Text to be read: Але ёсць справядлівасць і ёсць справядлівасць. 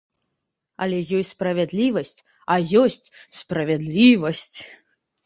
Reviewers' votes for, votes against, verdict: 0, 2, rejected